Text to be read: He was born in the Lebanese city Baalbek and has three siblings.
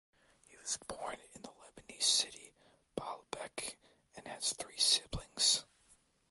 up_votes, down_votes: 2, 1